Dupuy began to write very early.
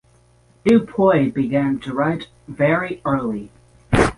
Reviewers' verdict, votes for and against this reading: rejected, 0, 3